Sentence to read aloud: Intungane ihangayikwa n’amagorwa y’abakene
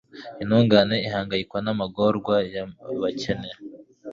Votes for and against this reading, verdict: 2, 0, accepted